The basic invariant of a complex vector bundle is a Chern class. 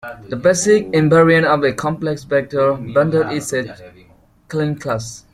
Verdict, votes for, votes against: accepted, 2, 0